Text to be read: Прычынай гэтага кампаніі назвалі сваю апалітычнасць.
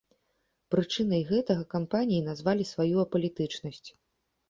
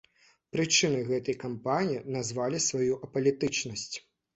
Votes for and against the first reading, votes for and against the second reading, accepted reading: 2, 0, 1, 2, first